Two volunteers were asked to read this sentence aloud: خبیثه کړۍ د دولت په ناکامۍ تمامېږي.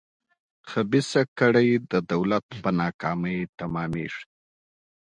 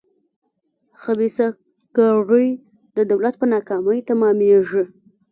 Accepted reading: first